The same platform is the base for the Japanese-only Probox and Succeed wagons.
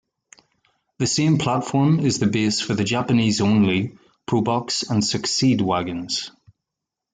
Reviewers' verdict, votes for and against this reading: accepted, 2, 0